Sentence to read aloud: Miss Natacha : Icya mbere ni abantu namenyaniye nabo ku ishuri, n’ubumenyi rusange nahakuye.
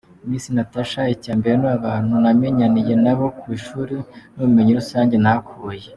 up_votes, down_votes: 2, 0